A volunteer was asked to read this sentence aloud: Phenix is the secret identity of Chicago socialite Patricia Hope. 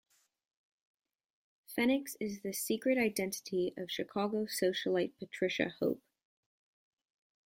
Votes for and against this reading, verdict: 0, 2, rejected